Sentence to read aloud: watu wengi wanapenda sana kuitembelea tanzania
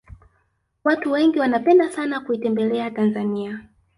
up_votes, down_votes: 2, 0